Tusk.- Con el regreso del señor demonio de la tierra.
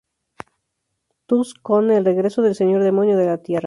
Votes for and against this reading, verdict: 0, 2, rejected